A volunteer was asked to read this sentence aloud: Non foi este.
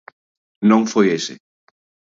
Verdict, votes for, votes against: rejected, 0, 2